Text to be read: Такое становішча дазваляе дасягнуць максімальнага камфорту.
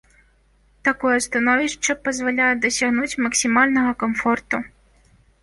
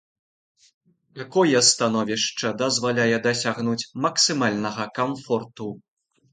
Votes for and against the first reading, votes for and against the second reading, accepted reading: 0, 3, 2, 0, second